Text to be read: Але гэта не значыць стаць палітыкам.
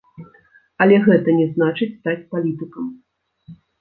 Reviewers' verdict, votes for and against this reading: accepted, 2, 0